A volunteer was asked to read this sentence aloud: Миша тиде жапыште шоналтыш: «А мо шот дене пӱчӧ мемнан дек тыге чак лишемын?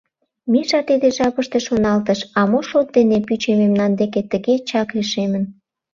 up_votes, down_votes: 0, 2